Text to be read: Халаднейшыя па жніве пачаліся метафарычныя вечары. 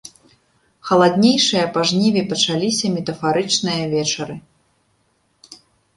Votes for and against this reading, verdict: 0, 2, rejected